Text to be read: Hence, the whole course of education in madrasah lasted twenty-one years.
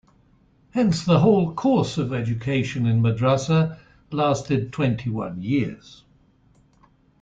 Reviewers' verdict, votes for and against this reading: accepted, 2, 0